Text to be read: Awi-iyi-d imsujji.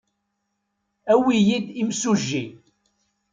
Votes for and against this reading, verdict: 2, 0, accepted